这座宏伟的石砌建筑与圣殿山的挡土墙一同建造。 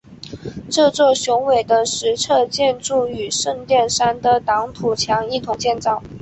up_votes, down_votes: 5, 2